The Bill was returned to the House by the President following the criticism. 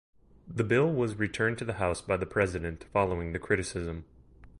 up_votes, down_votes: 2, 0